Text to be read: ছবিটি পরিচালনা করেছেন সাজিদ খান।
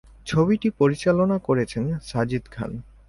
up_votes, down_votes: 2, 0